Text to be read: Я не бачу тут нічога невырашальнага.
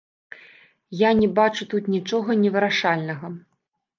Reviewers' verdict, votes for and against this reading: rejected, 1, 2